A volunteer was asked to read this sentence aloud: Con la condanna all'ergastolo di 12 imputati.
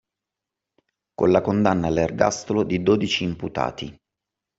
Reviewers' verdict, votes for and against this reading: rejected, 0, 2